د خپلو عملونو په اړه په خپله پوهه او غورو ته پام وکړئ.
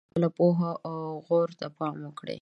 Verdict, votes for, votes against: rejected, 1, 2